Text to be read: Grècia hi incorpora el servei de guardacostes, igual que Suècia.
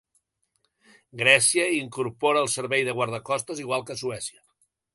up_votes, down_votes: 2, 0